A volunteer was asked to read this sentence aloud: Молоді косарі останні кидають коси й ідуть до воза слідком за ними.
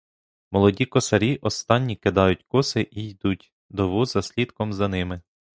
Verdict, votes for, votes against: rejected, 0, 2